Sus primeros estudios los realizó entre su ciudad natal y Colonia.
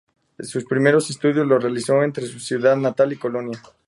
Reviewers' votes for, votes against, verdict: 2, 0, accepted